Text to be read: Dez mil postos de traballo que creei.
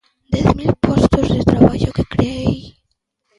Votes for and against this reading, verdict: 1, 2, rejected